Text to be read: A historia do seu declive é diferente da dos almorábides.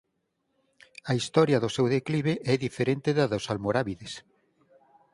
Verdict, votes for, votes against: accepted, 6, 0